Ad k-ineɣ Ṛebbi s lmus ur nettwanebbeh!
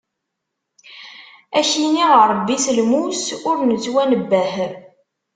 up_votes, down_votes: 0, 2